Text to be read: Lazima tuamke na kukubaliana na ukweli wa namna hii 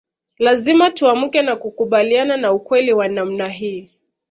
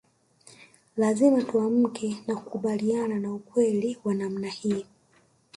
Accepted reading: first